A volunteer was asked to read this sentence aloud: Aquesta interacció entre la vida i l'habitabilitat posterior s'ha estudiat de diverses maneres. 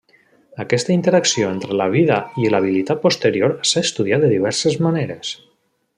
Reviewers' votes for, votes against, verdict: 1, 2, rejected